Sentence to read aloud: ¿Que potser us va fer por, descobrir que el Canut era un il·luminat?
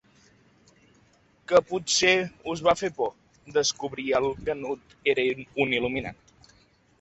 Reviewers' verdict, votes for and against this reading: rejected, 1, 2